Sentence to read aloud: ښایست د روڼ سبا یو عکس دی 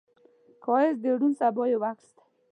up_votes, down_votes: 1, 2